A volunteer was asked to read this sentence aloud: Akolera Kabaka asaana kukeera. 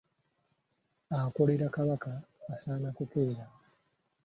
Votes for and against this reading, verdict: 2, 1, accepted